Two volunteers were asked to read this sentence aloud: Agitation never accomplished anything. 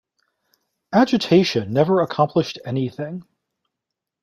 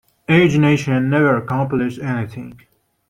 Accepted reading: first